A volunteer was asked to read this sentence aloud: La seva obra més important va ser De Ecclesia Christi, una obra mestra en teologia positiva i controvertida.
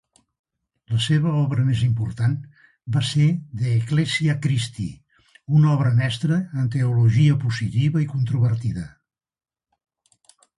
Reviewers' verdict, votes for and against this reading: accepted, 2, 0